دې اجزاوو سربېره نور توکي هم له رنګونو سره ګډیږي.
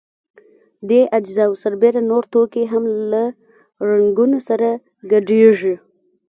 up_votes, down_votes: 1, 2